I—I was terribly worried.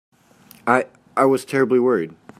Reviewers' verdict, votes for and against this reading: accepted, 3, 0